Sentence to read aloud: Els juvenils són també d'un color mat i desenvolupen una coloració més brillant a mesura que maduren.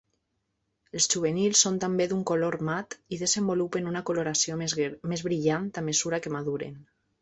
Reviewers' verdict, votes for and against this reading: rejected, 0, 2